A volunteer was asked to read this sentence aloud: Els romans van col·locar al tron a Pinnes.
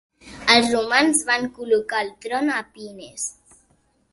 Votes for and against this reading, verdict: 2, 0, accepted